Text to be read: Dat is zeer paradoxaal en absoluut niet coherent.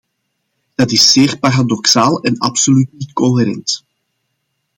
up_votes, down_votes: 2, 0